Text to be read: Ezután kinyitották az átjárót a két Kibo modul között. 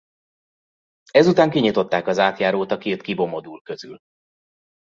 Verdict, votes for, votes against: rejected, 0, 2